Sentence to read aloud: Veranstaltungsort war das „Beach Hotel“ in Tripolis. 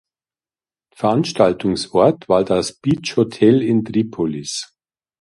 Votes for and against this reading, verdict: 2, 0, accepted